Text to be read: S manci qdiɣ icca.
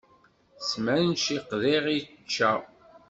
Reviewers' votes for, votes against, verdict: 1, 2, rejected